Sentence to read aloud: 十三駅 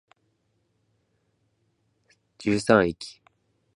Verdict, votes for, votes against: accepted, 21, 3